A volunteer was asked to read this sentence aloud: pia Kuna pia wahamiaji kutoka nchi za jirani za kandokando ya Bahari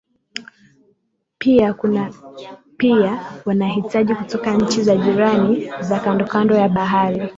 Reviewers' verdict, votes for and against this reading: rejected, 0, 2